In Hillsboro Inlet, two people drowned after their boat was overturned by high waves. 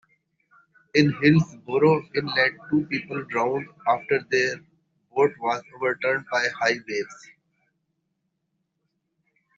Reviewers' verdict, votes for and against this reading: rejected, 1, 2